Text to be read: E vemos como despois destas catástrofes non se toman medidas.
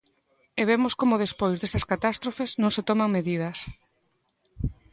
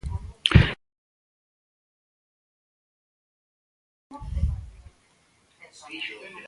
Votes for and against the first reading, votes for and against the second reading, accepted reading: 2, 0, 0, 2, first